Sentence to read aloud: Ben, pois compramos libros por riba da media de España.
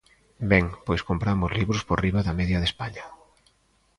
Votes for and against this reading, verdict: 2, 0, accepted